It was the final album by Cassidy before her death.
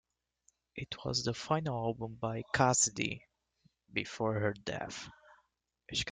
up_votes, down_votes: 2, 1